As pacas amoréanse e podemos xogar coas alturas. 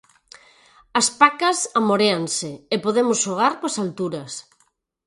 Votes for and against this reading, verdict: 4, 0, accepted